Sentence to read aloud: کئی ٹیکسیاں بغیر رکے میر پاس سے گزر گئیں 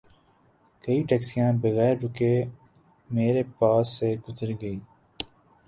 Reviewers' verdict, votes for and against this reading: accepted, 2, 1